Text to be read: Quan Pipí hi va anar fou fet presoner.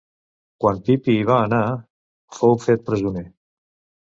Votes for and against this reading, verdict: 1, 2, rejected